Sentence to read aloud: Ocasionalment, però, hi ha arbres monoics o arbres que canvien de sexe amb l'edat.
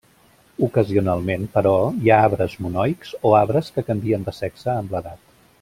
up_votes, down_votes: 3, 0